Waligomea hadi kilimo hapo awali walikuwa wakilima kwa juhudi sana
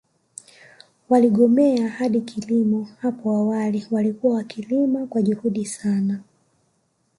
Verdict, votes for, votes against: accepted, 2, 1